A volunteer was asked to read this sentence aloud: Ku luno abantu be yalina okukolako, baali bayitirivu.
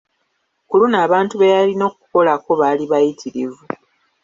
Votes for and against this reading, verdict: 3, 1, accepted